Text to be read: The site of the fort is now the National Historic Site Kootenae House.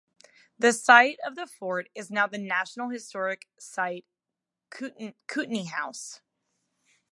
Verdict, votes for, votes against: rejected, 0, 2